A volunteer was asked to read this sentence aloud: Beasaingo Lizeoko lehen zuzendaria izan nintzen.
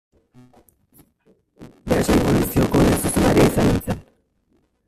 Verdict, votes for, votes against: rejected, 0, 2